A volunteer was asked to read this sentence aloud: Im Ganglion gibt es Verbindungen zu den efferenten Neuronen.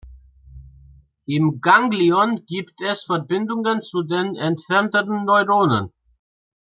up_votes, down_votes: 0, 2